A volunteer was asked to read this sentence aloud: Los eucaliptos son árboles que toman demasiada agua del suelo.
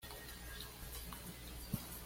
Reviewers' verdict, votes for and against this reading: rejected, 1, 2